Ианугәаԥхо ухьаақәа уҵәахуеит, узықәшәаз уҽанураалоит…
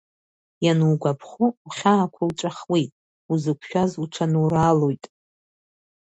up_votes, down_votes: 1, 2